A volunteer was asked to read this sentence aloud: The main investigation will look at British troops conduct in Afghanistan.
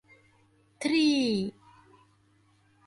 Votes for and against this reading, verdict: 0, 2, rejected